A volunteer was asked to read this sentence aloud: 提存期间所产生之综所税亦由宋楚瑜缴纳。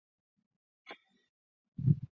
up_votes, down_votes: 0, 2